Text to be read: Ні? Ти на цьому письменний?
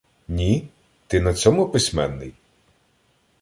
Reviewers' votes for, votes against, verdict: 2, 0, accepted